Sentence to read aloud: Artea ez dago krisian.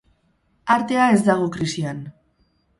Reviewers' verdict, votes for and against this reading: accepted, 8, 0